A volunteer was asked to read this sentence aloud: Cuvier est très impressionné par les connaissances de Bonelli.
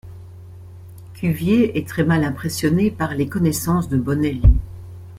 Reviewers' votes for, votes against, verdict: 1, 2, rejected